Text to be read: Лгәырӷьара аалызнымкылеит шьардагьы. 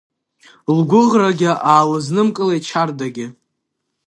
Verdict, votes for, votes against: rejected, 0, 2